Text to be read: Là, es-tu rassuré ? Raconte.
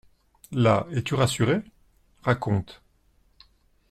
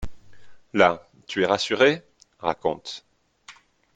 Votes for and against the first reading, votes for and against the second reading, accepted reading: 3, 0, 1, 2, first